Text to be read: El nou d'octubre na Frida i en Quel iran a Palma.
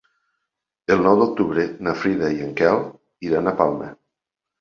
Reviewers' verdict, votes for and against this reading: accepted, 3, 0